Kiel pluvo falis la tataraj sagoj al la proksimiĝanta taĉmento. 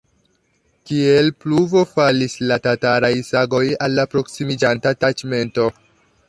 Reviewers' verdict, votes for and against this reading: rejected, 0, 2